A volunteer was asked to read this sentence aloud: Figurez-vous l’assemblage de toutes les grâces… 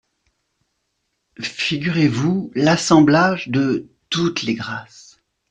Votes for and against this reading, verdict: 2, 0, accepted